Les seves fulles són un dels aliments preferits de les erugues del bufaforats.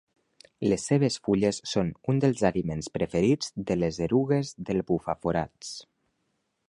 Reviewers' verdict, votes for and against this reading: accepted, 2, 0